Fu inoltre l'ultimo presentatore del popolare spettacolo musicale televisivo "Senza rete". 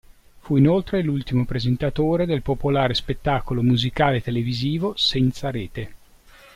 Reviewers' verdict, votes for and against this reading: accepted, 2, 0